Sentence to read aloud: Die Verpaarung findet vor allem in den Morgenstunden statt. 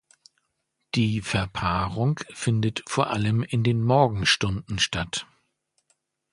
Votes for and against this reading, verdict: 2, 0, accepted